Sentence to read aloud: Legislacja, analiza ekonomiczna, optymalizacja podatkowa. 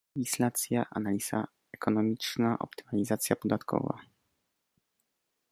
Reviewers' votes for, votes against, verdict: 1, 2, rejected